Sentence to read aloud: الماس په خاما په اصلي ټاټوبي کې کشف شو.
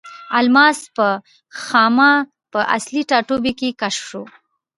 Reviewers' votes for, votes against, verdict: 0, 2, rejected